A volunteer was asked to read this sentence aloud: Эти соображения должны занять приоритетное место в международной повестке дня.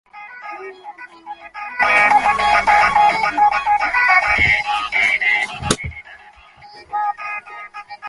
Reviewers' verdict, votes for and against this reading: rejected, 0, 2